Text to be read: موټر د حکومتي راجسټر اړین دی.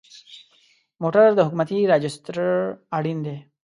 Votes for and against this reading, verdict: 1, 2, rejected